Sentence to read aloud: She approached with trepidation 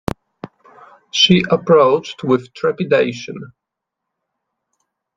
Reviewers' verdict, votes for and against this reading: accepted, 2, 0